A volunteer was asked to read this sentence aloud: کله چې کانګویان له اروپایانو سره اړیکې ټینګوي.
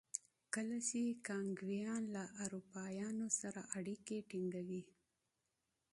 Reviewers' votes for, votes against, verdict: 2, 0, accepted